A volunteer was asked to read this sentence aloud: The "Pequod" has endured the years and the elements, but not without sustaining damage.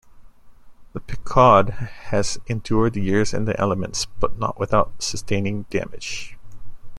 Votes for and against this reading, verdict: 2, 1, accepted